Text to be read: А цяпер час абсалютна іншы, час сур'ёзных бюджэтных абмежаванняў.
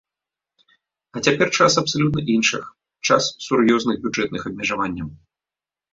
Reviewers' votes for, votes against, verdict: 0, 2, rejected